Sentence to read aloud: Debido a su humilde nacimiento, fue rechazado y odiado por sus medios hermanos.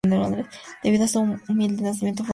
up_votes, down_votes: 0, 2